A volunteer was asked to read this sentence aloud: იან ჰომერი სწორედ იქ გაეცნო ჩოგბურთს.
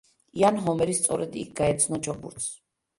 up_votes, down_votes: 2, 1